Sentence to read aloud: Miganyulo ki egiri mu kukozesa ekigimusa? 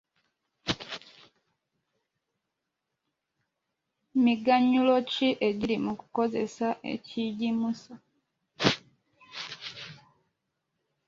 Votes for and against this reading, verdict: 2, 0, accepted